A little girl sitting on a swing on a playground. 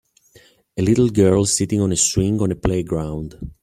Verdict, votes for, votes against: accepted, 2, 0